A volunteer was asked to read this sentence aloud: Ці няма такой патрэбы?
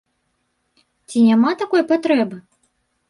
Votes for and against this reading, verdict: 2, 0, accepted